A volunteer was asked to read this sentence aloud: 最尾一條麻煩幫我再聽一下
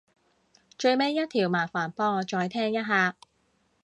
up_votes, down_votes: 2, 0